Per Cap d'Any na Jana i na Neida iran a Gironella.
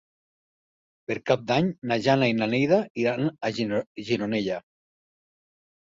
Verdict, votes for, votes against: rejected, 0, 3